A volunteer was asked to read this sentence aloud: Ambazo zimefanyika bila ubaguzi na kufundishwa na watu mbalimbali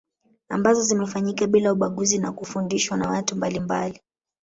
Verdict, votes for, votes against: rejected, 1, 2